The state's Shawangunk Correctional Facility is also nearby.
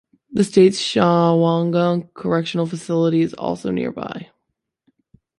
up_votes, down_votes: 1, 3